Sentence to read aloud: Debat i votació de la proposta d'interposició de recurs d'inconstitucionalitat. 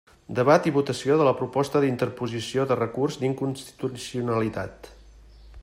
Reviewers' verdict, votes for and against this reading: rejected, 1, 2